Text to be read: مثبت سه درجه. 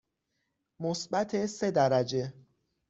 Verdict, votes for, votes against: accepted, 6, 0